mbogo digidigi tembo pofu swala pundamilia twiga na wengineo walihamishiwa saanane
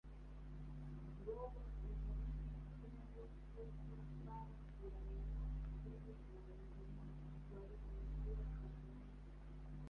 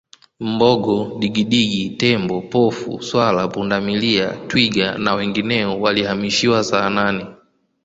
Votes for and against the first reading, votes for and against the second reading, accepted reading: 0, 3, 2, 1, second